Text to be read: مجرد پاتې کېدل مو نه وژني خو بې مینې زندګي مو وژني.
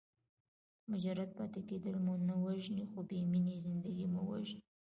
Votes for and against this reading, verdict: 2, 0, accepted